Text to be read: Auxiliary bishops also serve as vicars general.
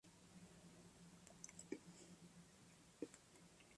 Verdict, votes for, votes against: rejected, 0, 2